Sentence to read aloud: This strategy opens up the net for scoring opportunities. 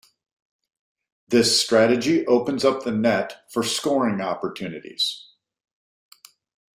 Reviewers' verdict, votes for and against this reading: accepted, 2, 0